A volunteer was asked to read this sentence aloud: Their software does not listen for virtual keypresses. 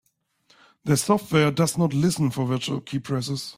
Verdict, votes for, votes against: accepted, 2, 0